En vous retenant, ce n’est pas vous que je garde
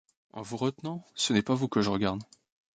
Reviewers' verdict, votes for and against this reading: rejected, 0, 2